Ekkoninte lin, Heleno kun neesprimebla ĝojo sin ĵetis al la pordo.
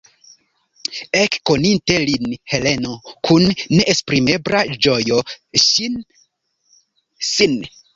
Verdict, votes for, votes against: rejected, 0, 2